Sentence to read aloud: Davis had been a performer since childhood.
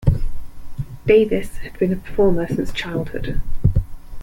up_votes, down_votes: 2, 0